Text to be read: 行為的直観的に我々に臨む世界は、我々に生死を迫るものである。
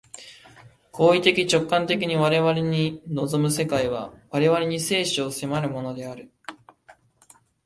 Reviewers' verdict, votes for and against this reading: accepted, 2, 0